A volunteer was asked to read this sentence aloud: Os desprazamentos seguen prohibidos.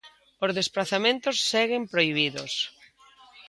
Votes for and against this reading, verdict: 2, 0, accepted